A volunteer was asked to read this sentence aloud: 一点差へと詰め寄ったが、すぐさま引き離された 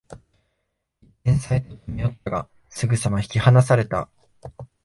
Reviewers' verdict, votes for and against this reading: rejected, 1, 2